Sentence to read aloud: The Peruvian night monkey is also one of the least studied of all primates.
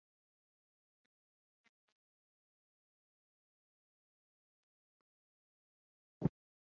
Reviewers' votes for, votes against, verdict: 0, 3, rejected